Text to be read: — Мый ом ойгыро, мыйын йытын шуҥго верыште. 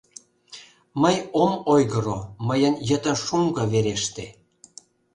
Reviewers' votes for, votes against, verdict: 0, 2, rejected